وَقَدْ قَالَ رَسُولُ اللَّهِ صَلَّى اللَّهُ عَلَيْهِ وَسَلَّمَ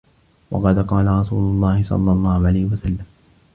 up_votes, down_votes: 2, 0